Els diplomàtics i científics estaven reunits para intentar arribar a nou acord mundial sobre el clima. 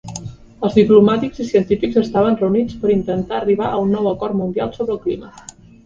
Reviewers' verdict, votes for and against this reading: rejected, 1, 2